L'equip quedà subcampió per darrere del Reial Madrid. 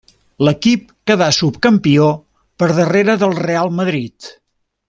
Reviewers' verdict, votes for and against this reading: accepted, 2, 1